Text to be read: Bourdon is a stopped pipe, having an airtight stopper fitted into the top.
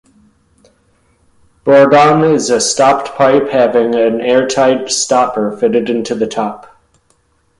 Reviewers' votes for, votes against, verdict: 2, 0, accepted